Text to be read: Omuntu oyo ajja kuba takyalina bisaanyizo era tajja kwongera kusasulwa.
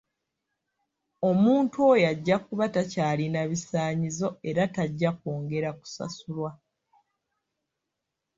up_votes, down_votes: 2, 0